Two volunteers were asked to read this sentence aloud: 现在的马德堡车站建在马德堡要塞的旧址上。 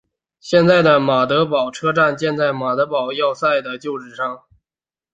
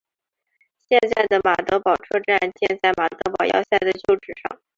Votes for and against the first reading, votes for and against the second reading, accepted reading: 2, 0, 0, 2, first